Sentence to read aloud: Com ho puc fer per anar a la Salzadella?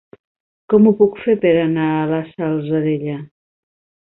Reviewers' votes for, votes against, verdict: 2, 0, accepted